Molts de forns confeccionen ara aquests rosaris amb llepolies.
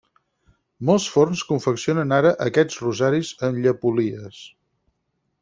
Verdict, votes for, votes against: rejected, 2, 4